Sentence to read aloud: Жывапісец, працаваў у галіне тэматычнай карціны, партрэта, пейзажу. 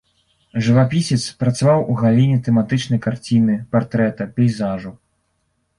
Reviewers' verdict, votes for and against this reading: rejected, 2, 3